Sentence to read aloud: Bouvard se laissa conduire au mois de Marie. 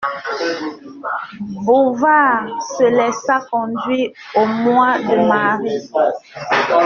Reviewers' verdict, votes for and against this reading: rejected, 0, 2